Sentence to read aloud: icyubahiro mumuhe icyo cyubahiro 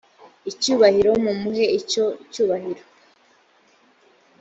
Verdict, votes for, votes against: accepted, 2, 0